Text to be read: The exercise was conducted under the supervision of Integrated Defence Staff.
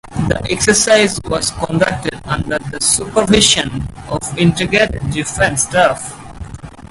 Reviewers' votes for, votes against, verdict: 2, 0, accepted